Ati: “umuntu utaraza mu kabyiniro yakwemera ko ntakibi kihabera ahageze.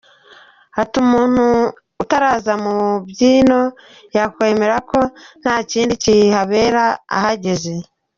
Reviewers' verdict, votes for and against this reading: rejected, 0, 2